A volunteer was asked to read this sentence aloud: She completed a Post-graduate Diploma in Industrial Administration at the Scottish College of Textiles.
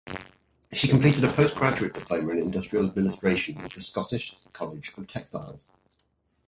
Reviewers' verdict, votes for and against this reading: accepted, 4, 0